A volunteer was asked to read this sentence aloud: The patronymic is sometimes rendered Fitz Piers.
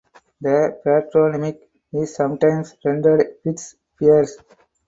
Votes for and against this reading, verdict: 0, 4, rejected